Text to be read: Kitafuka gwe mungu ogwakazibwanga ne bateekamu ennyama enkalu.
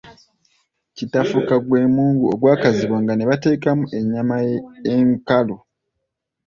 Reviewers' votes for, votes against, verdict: 1, 2, rejected